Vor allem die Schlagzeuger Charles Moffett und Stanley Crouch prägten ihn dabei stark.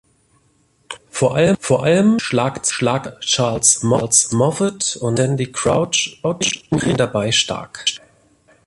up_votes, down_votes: 0, 2